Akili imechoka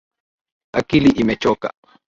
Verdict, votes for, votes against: accepted, 2, 0